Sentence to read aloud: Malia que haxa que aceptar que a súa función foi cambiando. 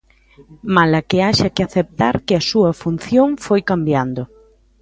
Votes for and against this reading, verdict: 0, 2, rejected